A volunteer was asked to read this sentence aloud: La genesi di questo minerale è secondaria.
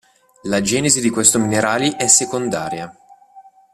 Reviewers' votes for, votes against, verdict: 1, 2, rejected